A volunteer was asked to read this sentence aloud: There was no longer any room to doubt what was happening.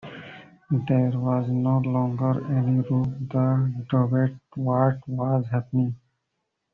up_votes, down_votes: 0, 2